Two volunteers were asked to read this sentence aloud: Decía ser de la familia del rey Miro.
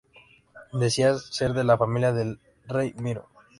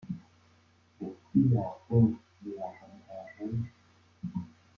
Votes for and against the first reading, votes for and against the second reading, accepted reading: 2, 0, 0, 2, first